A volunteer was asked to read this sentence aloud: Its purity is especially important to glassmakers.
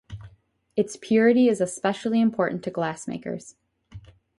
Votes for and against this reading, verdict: 4, 0, accepted